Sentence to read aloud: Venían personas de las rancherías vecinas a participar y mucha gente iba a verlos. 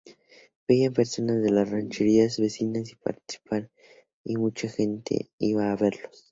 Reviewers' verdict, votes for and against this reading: rejected, 0, 2